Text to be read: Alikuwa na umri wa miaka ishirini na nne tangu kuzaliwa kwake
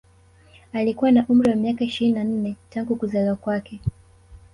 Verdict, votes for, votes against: rejected, 0, 2